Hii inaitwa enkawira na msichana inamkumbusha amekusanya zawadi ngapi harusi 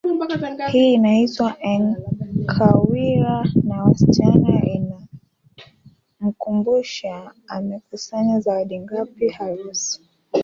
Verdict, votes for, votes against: rejected, 0, 2